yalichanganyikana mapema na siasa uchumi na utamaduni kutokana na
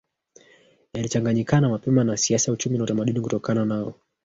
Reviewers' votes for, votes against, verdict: 0, 2, rejected